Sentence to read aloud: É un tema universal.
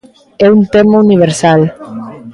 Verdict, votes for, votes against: rejected, 1, 2